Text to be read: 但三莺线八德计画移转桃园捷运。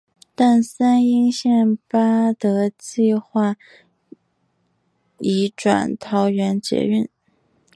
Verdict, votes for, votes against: accepted, 5, 1